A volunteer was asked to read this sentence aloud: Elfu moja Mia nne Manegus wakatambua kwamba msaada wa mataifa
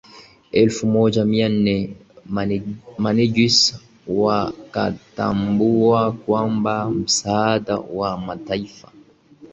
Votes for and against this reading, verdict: 1, 2, rejected